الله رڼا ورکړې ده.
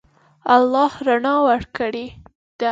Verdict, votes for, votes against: accepted, 2, 0